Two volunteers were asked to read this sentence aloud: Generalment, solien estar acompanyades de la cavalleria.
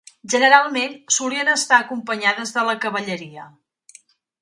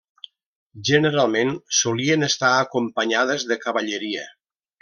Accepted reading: first